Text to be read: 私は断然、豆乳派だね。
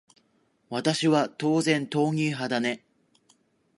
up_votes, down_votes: 1, 2